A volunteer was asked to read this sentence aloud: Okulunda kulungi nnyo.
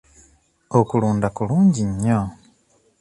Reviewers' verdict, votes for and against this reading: accepted, 2, 0